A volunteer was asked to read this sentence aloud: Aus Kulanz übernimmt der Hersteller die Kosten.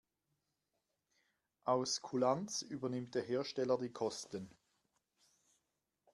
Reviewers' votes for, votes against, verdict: 2, 0, accepted